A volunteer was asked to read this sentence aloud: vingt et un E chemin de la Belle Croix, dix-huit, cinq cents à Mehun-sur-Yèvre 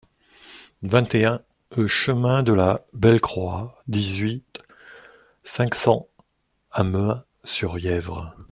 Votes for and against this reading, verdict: 0, 2, rejected